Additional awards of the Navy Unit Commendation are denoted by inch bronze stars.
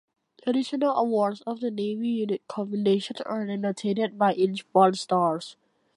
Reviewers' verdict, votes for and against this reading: rejected, 1, 2